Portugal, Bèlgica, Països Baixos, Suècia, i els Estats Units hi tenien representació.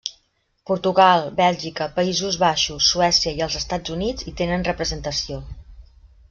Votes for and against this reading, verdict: 2, 0, accepted